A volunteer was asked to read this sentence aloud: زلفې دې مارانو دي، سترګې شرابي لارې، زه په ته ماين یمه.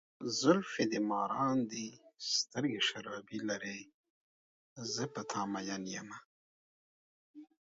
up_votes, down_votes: 2, 0